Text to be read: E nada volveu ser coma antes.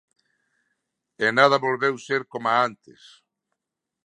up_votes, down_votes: 1, 2